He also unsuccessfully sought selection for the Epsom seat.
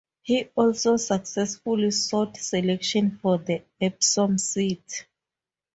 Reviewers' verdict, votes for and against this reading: rejected, 0, 2